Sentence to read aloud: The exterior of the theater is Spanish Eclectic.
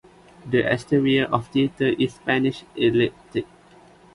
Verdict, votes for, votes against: rejected, 0, 2